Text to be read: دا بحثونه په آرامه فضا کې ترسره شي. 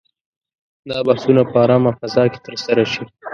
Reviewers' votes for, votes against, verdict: 1, 2, rejected